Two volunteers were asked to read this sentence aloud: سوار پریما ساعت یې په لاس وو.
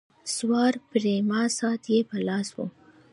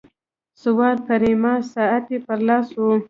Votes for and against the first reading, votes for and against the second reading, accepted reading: 0, 2, 2, 0, second